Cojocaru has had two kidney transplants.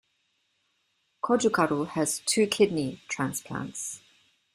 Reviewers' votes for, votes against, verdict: 1, 2, rejected